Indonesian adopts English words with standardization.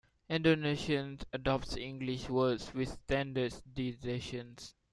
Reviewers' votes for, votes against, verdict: 0, 2, rejected